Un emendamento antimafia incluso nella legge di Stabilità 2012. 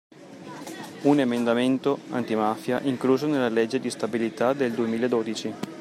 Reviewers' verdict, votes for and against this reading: rejected, 0, 2